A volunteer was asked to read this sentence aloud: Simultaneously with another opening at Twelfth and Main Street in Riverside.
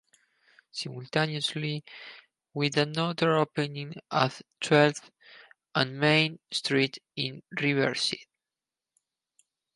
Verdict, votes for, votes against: rejected, 0, 4